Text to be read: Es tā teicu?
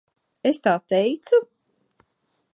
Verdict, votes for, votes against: accepted, 2, 0